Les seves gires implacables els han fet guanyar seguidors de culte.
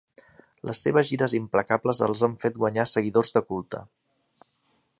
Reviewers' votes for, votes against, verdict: 3, 0, accepted